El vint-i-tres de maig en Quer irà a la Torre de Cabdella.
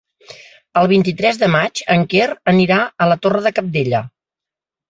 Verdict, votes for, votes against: rejected, 1, 2